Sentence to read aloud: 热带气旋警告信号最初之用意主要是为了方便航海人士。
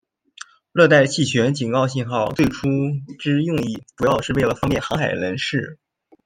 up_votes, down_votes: 2, 1